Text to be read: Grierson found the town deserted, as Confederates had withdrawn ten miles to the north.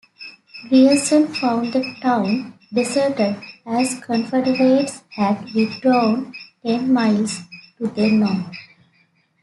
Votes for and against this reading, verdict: 2, 0, accepted